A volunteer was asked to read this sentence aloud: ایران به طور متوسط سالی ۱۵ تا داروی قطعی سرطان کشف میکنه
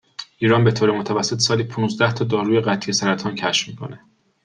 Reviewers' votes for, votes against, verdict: 0, 2, rejected